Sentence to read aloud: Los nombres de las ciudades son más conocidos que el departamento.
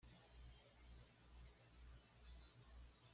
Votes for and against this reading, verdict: 1, 2, rejected